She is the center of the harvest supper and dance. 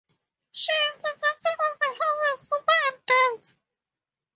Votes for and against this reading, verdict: 0, 2, rejected